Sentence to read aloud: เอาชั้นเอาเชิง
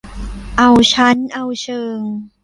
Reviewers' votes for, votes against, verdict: 2, 0, accepted